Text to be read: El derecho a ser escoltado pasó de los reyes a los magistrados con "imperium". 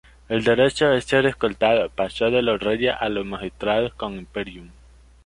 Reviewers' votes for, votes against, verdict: 2, 0, accepted